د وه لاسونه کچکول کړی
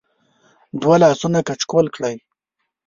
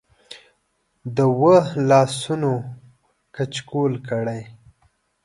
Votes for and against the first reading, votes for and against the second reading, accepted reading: 1, 2, 2, 0, second